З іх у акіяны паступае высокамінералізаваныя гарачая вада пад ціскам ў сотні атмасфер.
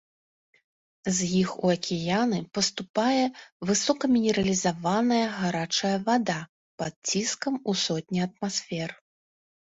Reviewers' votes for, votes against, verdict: 2, 0, accepted